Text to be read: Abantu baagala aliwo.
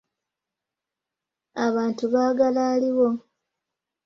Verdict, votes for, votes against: accepted, 2, 0